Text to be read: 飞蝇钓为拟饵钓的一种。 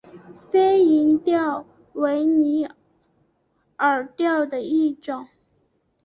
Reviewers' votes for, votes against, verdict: 3, 1, accepted